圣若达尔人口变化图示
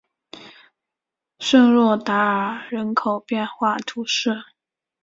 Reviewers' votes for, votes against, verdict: 2, 0, accepted